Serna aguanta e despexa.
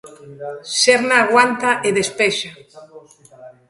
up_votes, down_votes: 0, 2